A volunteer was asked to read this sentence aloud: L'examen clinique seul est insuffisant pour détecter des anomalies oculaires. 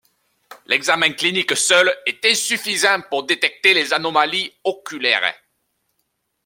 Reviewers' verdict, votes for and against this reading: rejected, 1, 2